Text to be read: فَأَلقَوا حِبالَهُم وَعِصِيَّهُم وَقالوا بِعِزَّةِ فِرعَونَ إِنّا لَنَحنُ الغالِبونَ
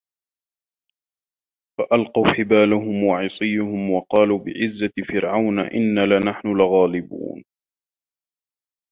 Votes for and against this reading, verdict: 1, 2, rejected